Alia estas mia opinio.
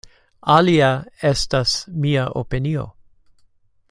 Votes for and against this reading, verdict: 1, 2, rejected